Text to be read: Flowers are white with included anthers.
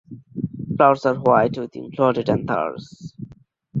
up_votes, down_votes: 2, 0